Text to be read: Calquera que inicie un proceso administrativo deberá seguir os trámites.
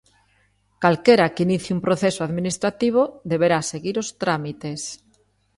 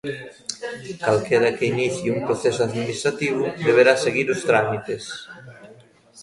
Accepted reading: first